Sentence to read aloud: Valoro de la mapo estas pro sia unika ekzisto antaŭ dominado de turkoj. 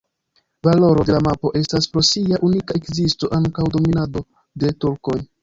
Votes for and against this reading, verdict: 1, 2, rejected